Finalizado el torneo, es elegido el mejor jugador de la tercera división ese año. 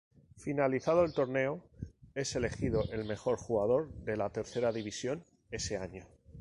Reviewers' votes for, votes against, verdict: 2, 0, accepted